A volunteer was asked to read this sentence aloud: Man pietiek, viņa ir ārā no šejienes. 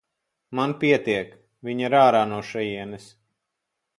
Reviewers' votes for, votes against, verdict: 4, 0, accepted